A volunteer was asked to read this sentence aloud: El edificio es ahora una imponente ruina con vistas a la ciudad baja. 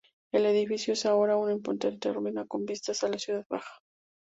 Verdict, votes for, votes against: rejected, 0, 2